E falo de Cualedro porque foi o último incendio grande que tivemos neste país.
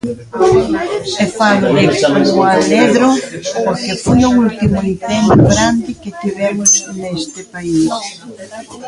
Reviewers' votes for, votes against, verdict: 0, 3, rejected